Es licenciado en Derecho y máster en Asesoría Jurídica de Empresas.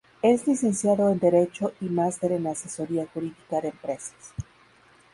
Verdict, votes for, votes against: accepted, 2, 0